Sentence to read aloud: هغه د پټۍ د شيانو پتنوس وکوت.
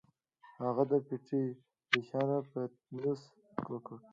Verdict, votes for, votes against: accepted, 2, 1